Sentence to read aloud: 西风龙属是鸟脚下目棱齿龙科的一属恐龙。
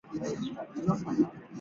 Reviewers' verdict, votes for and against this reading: rejected, 0, 2